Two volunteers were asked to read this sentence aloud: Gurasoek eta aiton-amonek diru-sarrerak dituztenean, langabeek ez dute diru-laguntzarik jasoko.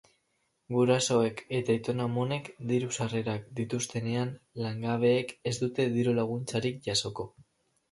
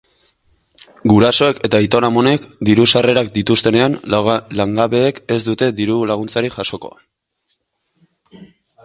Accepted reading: first